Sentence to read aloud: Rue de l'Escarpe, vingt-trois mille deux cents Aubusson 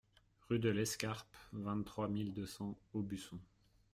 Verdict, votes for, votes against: accepted, 2, 1